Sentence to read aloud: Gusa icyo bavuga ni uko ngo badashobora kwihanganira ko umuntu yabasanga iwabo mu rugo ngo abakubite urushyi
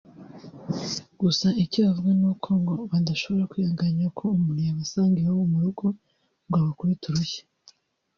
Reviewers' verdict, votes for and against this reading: rejected, 1, 2